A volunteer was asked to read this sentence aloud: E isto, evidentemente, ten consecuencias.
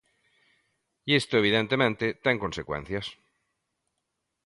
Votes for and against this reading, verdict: 2, 0, accepted